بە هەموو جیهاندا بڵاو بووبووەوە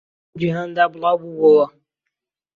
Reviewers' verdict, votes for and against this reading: rejected, 1, 2